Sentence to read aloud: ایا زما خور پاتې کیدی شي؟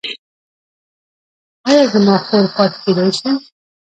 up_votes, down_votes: 0, 2